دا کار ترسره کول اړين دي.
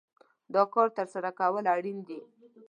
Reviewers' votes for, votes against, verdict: 2, 0, accepted